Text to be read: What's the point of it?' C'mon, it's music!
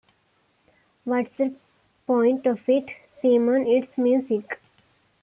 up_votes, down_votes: 0, 2